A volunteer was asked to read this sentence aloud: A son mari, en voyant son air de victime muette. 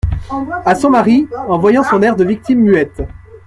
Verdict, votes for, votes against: rejected, 0, 2